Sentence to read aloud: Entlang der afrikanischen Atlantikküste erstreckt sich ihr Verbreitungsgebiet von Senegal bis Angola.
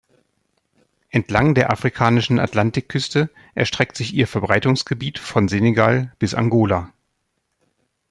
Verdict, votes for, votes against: accepted, 2, 0